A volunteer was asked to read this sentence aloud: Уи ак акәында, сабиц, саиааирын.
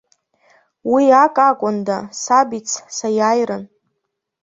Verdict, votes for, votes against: accepted, 2, 0